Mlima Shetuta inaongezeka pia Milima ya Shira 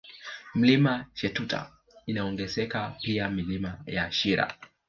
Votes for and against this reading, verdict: 2, 0, accepted